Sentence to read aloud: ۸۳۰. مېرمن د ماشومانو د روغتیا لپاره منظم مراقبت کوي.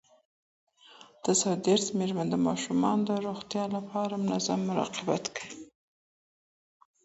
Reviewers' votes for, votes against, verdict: 0, 2, rejected